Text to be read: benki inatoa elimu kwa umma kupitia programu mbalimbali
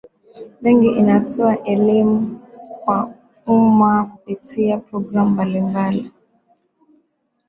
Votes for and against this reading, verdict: 2, 0, accepted